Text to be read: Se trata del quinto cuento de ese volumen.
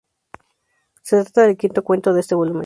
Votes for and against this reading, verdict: 0, 2, rejected